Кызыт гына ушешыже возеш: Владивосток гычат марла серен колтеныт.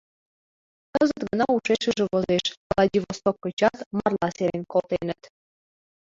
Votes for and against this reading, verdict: 0, 2, rejected